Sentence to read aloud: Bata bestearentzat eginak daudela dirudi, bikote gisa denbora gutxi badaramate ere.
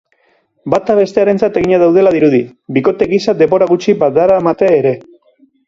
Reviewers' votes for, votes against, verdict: 2, 0, accepted